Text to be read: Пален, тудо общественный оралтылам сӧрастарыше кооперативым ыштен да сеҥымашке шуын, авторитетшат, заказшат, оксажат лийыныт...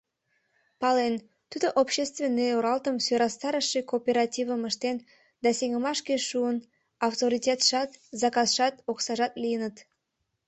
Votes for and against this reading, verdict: 1, 2, rejected